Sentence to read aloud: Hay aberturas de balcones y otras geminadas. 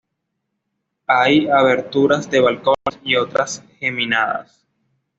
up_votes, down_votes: 2, 0